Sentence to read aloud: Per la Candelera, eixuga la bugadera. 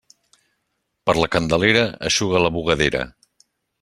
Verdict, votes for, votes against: accepted, 2, 0